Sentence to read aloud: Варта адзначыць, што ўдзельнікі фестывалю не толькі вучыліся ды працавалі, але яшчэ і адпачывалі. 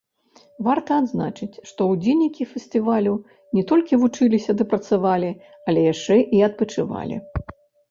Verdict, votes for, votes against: rejected, 1, 2